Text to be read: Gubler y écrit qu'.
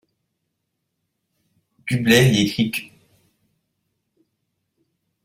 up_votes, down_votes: 0, 2